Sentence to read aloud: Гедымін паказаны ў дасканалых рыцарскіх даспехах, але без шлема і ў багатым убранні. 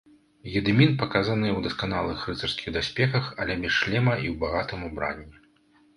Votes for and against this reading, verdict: 1, 2, rejected